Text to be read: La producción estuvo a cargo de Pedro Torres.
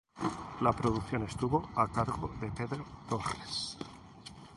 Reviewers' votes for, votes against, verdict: 0, 2, rejected